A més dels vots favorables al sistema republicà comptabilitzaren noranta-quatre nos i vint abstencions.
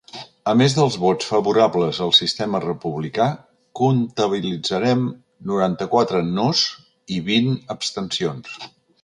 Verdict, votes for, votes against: rejected, 0, 3